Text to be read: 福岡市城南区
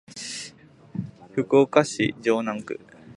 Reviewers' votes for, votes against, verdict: 2, 0, accepted